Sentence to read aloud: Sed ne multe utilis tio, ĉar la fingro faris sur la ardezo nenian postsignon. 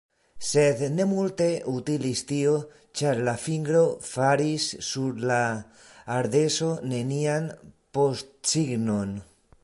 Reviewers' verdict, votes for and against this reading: accepted, 2, 0